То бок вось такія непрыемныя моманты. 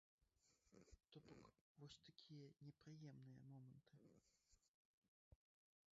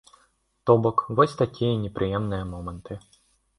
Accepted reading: second